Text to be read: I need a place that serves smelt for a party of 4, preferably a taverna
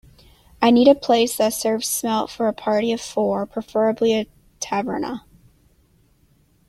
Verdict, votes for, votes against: rejected, 0, 2